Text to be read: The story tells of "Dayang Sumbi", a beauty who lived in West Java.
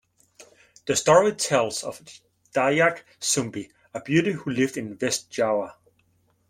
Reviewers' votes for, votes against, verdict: 0, 2, rejected